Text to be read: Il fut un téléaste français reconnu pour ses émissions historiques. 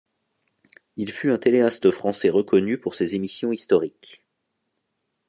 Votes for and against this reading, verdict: 2, 0, accepted